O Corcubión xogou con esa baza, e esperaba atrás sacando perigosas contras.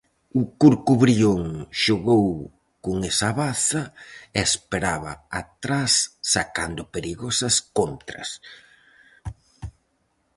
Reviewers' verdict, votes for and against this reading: rejected, 0, 4